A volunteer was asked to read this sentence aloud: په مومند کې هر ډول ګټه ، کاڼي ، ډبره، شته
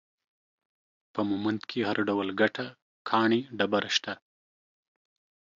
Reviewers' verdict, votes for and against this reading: accepted, 2, 0